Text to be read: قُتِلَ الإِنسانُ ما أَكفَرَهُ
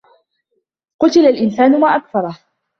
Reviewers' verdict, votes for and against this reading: accepted, 2, 0